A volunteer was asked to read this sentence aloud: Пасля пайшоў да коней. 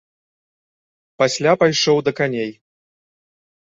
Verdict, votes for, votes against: rejected, 1, 3